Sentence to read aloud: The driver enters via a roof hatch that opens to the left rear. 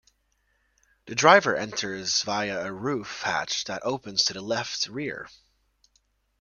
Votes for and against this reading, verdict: 2, 1, accepted